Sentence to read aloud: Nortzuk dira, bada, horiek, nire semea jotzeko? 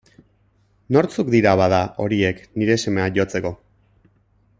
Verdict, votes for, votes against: accepted, 2, 0